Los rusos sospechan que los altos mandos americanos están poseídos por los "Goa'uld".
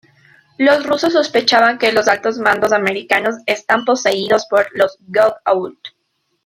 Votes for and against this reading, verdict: 1, 2, rejected